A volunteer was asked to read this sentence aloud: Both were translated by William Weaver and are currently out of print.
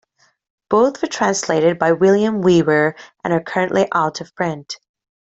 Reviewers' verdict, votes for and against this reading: accepted, 2, 1